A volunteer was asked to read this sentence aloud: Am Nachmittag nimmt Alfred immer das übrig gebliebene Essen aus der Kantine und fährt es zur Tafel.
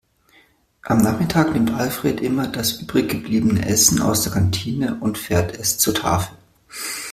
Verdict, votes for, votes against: rejected, 0, 2